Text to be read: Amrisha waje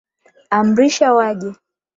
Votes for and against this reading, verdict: 28, 0, accepted